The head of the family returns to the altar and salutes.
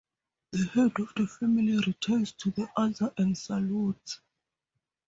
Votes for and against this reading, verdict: 0, 2, rejected